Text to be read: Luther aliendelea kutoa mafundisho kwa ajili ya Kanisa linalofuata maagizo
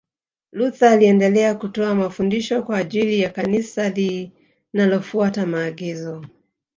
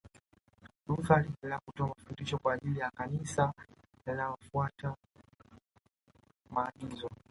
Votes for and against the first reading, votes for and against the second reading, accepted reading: 1, 2, 2, 1, second